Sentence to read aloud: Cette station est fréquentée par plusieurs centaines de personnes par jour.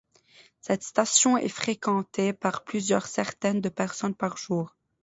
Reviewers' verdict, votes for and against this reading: rejected, 0, 2